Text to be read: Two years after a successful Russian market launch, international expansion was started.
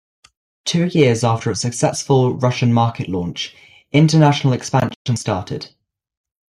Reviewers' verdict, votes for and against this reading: rejected, 1, 2